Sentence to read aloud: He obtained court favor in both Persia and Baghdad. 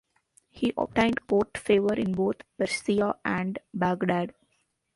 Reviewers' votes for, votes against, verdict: 1, 2, rejected